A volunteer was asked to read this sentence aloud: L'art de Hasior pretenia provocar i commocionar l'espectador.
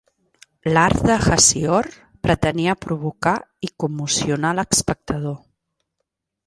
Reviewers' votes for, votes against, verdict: 2, 0, accepted